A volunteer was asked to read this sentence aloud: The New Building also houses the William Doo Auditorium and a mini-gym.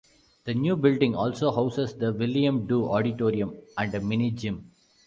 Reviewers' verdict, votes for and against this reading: accepted, 2, 0